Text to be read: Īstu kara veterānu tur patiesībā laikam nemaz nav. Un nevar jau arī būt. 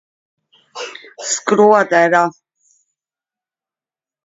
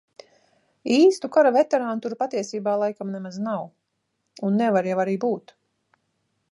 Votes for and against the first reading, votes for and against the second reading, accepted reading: 0, 2, 2, 0, second